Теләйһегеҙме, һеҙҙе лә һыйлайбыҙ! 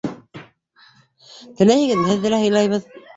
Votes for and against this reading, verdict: 0, 2, rejected